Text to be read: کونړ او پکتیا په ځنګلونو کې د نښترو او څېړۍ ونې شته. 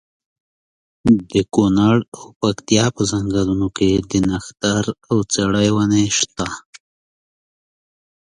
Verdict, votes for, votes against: rejected, 1, 2